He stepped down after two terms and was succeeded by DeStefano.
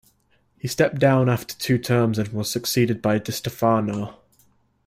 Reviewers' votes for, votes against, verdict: 2, 1, accepted